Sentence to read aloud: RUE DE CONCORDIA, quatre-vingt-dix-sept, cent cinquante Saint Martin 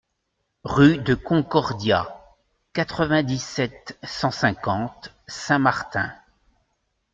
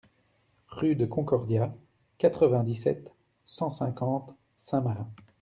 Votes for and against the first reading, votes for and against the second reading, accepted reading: 2, 0, 1, 2, first